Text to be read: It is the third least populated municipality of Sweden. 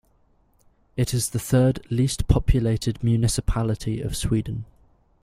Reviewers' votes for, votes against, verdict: 2, 0, accepted